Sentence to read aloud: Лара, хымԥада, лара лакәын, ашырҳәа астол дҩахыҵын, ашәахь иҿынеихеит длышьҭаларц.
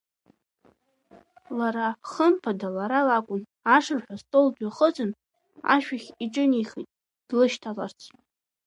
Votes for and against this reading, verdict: 2, 0, accepted